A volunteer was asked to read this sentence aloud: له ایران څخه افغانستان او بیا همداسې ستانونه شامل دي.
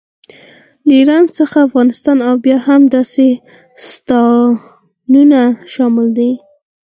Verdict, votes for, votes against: accepted, 4, 2